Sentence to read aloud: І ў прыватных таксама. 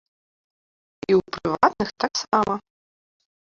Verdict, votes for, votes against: rejected, 0, 2